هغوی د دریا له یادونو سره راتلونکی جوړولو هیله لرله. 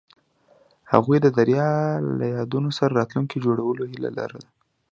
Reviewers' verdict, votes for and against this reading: accepted, 2, 0